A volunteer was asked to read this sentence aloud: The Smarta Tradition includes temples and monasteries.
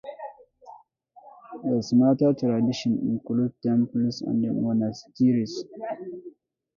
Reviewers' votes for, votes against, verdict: 1, 2, rejected